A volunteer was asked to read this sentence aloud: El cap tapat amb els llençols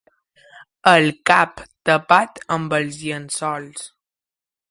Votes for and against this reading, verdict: 2, 0, accepted